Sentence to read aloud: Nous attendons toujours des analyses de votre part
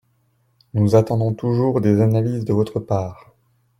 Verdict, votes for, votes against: accepted, 2, 0